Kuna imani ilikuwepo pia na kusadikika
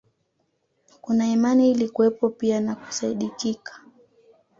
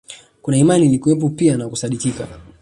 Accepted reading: second